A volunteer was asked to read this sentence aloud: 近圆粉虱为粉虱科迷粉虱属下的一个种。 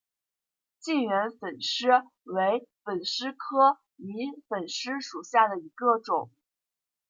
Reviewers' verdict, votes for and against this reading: rejected, 1, 2